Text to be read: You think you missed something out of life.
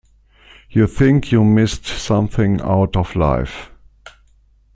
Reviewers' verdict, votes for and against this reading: rejected, 1, 2